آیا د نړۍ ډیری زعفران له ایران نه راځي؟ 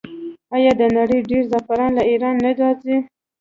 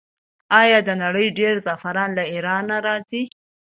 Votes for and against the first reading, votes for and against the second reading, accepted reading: 0, 2, 2, 0, second